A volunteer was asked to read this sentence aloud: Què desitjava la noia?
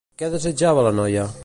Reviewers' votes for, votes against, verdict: 2, 0, accepted